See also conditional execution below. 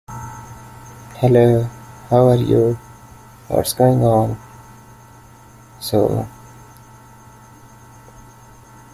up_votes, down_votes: 0, 2